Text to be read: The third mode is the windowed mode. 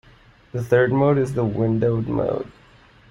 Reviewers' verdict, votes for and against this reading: accepted, 2, 0